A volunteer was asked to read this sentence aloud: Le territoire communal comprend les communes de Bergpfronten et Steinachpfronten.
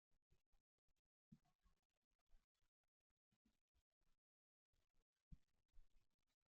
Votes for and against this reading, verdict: 1, 2, rejected